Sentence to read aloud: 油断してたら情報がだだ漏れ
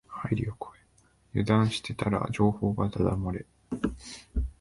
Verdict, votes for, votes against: rejected, 1, 2